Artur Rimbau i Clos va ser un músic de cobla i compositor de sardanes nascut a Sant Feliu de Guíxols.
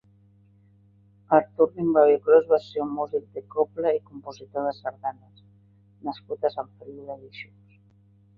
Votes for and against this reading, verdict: 0, 2, rejected